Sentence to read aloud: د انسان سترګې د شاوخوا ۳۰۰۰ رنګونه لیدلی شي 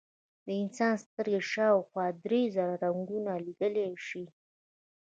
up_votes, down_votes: 0, 2